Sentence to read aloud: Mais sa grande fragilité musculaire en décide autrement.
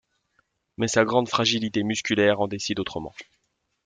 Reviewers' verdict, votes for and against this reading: accepted, 2, 0